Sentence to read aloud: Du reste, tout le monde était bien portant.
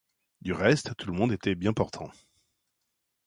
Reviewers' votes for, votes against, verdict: 2, 0, accepted